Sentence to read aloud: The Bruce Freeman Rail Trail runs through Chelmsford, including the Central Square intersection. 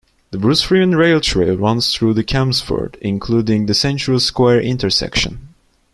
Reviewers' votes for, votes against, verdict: 0, 2, rejected